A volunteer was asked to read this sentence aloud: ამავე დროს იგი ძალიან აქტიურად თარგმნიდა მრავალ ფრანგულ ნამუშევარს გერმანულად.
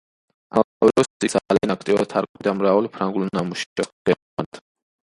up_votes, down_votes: 0, 2